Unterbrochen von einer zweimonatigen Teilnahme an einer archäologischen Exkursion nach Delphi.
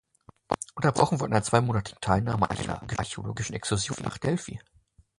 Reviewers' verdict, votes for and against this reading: rejected, 0, 2